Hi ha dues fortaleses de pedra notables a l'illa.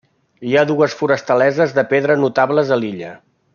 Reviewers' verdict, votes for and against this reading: rejected, 0, 2